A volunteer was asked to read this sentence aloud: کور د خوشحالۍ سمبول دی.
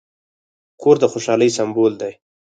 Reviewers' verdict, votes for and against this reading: rejected, 0, 4